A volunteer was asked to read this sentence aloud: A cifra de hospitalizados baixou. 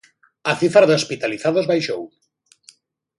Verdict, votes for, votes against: accepted, 2, 0